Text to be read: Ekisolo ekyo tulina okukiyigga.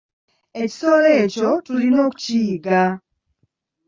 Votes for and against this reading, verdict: 1, 2, rejected